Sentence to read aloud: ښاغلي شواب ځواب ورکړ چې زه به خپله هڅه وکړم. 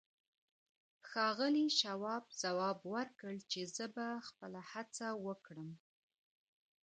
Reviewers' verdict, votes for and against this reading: rejected, 0, 2